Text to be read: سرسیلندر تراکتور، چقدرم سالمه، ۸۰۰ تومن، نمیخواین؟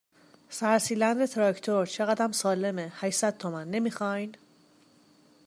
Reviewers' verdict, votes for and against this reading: rejected, 0, 2